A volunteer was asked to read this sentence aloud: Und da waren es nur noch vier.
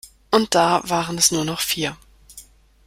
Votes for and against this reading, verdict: 2, 0, accepted